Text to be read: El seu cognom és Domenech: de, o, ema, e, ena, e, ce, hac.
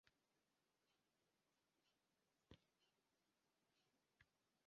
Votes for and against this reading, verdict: 0, 2, rejected